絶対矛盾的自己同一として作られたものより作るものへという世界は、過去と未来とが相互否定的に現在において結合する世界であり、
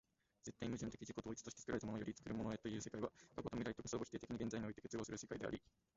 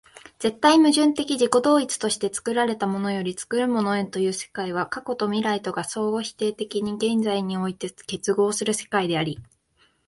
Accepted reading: second